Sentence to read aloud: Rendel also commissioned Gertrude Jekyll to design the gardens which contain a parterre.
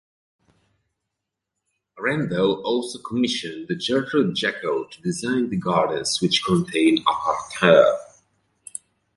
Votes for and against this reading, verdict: 1, 2, rejected